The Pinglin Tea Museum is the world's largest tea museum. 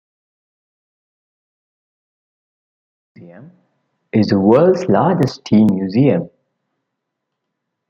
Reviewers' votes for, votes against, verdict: 0, 2, rejected